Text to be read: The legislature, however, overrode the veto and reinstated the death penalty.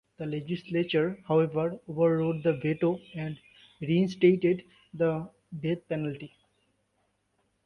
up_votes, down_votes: 1, 2